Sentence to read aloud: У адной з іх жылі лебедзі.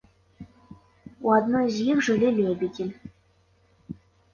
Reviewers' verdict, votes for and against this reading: accepted, 2, 0